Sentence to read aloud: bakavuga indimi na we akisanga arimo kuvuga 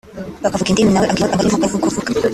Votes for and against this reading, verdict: 0, 3, rejected